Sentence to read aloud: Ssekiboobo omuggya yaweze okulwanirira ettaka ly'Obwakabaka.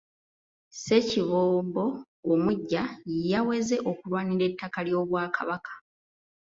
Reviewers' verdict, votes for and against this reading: accepted, 2, 0